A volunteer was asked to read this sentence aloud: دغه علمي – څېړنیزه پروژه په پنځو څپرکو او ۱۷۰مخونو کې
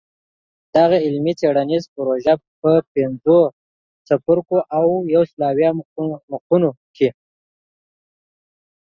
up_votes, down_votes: 0, 2